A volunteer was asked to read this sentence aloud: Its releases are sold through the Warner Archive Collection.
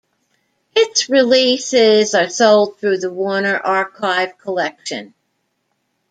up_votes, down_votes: 0, 2